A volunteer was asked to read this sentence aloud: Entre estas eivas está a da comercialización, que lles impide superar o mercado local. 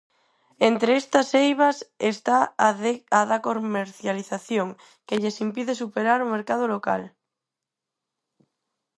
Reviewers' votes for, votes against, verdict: 0, 4, rejected